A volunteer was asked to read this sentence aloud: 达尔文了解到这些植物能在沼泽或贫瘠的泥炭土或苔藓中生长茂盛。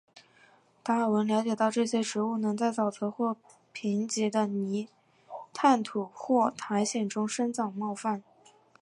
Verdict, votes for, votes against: accepted, 3, 1